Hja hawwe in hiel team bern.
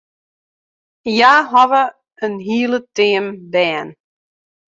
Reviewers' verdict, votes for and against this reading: rejected, 1, 2